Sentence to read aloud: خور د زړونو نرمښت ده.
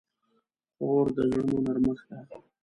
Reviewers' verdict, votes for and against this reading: accepted, 3, 0